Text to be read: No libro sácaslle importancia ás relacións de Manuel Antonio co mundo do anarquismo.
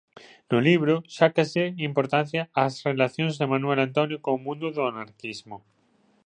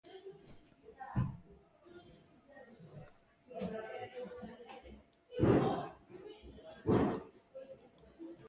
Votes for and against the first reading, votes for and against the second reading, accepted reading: 2, 0, 0, 2, first